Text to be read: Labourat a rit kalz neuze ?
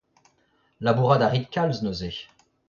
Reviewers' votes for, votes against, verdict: 0, 2, rejected